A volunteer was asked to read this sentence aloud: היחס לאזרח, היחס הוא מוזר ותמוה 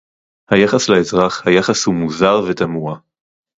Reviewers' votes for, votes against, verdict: 2, 0, accepted